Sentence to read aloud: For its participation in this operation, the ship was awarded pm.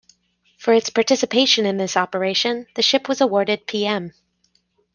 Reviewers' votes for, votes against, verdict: 2, 0, accepted